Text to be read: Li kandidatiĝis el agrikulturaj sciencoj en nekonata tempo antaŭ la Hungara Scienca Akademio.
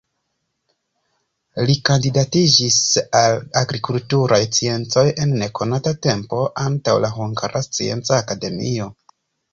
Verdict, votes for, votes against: rejected, 1, 2